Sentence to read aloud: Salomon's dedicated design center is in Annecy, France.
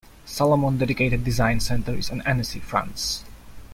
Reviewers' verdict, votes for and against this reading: rejected, 1, 2